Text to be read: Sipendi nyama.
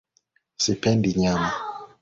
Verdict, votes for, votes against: accepted, 2, 1